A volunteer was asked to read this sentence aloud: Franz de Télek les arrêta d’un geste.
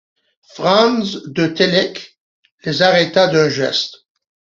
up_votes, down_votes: 2, 0